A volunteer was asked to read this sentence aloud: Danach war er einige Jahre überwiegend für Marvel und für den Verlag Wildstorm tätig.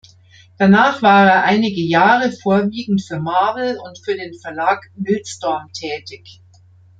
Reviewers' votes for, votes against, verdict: 0, 2, rejected